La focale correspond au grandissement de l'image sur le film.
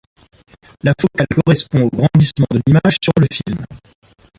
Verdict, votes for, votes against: rejected, 1, 2